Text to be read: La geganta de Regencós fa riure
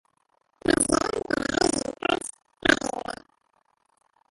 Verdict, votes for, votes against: rejected, 0, 5